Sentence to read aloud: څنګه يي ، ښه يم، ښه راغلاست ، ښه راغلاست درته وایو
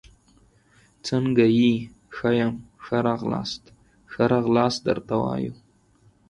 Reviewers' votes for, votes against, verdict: 4, 0, accepted